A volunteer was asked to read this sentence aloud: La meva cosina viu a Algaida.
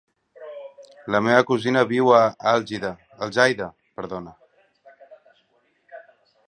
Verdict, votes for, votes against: rejected, 1, 3